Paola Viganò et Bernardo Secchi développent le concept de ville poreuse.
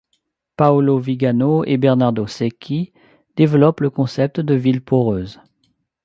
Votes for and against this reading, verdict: 1, 2, rejected